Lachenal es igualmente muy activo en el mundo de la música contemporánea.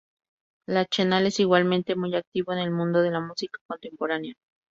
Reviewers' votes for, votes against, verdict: 4, 0, accepted